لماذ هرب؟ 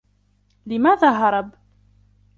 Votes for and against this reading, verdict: 1, 2, rejected